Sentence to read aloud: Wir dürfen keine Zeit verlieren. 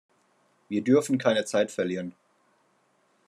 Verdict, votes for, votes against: accepted, 2, 0